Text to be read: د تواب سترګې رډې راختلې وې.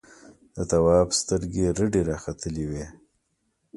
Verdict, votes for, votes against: accepted, 2, 0